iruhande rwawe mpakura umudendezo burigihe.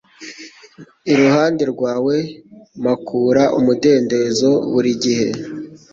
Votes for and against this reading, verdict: 2, 0, accepted